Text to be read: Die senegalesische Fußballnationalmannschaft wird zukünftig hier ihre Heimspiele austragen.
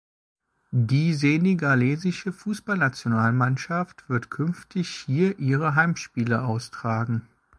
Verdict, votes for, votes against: rejected, 0, 2